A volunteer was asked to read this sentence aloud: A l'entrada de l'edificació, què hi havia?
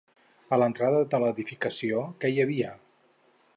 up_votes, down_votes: 0, 2